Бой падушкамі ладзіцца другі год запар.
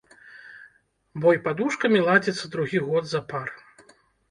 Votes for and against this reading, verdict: 1, 2, rejected